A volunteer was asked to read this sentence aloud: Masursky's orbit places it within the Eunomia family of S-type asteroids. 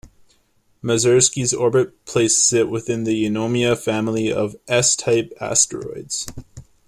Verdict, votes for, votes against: accepted, 2, 0